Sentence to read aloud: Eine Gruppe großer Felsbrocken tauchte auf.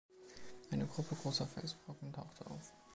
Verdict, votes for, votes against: accepted, 2, 0